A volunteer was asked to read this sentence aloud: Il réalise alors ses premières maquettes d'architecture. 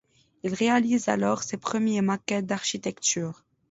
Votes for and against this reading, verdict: 1, 2, rejected